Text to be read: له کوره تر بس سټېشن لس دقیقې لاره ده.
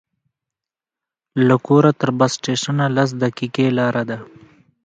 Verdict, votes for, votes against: rejected, 0, 2